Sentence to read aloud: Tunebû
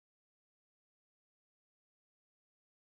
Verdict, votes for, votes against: rejected, 0, 2